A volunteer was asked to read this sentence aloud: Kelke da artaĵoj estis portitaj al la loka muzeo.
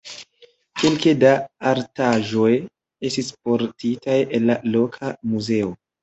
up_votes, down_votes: 1, 2